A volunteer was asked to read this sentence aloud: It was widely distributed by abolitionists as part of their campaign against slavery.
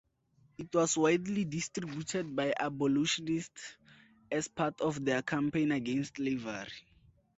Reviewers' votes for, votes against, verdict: 2, 2, rejected